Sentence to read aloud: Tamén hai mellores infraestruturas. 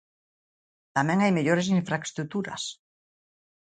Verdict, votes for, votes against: rejected, 1, 3